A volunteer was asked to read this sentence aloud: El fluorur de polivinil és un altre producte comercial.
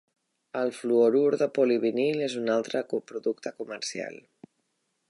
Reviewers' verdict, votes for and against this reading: rejected, 1, 2